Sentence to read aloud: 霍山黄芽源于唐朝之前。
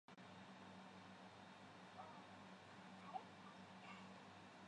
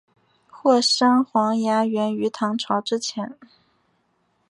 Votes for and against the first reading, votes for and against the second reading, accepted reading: 0, 2, 6, 0, second